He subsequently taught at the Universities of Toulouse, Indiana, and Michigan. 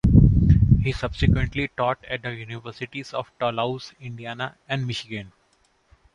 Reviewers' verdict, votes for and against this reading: rejected, 1, 2